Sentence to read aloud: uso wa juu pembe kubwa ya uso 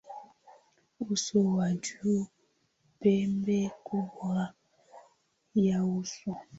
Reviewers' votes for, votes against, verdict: 3, 5, rejected